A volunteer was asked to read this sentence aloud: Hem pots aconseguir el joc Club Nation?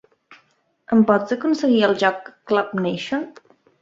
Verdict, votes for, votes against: accepted, 3, 0